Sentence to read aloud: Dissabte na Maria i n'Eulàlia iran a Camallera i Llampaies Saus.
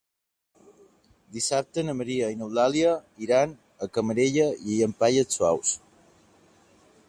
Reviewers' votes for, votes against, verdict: 1, 2, rejected